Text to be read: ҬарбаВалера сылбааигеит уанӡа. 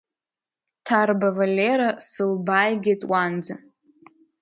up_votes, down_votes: 2, 1